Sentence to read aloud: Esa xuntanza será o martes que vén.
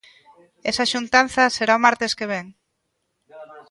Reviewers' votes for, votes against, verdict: 0, 2, rejected